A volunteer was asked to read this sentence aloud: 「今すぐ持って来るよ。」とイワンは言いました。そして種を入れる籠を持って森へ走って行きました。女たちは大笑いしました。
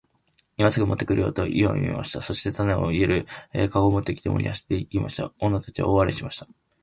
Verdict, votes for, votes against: rejected, 0, 2